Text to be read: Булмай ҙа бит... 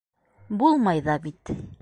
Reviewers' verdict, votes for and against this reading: accepted, 2, 0